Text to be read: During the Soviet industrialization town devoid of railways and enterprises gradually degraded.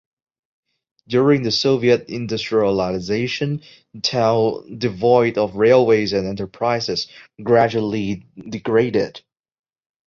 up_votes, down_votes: 1, 2